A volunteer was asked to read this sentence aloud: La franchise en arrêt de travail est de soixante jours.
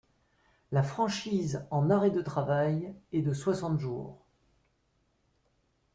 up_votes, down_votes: 2, 0